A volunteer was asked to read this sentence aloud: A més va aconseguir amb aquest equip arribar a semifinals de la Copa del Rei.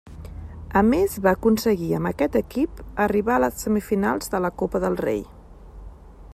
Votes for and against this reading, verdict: 1, 2, rejected